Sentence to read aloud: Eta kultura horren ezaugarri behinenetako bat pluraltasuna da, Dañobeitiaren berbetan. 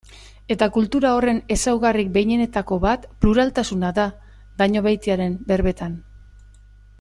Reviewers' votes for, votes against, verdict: 2, 0, accepted